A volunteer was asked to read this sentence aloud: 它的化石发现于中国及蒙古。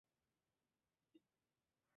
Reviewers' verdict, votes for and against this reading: rejected, 3, 5